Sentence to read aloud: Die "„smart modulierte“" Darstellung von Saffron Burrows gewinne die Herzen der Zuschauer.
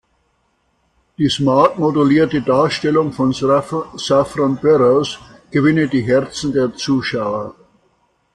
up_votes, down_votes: 0, 2